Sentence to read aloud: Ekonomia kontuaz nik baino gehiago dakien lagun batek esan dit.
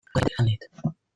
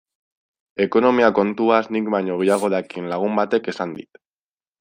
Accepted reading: second